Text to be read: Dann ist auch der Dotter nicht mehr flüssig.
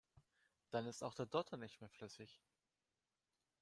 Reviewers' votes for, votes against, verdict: 2, 1, accepted